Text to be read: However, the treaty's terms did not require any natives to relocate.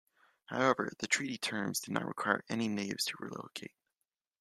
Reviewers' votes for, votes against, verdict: 2, 1, accepted